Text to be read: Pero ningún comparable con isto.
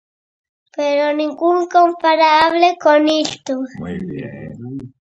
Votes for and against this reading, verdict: 0, 2, rejected